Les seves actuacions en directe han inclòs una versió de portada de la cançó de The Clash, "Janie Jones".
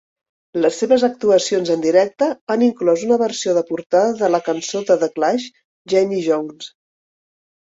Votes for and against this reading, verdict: 2, 0, accepted